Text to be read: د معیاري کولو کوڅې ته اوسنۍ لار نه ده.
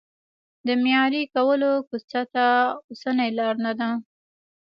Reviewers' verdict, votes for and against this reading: accepted, 2, 1